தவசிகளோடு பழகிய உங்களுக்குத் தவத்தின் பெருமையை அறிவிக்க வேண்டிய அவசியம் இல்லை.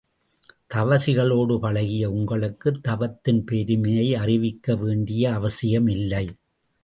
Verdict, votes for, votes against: accepted, 2, 0